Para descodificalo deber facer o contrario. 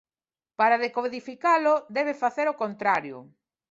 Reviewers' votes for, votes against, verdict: 0, 2, rejected